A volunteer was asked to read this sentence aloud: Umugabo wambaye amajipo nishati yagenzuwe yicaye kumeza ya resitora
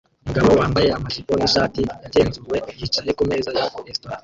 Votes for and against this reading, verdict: 0, 2, rejected